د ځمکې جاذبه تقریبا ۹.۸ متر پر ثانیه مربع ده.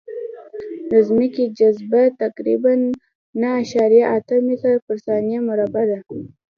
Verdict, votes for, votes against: rejected, 0, 2